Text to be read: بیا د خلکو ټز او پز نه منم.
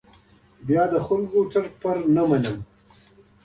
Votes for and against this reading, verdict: 0, 2, rejected